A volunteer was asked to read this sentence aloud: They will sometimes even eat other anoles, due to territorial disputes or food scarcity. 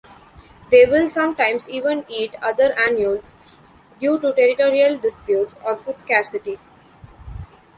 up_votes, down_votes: 1, 2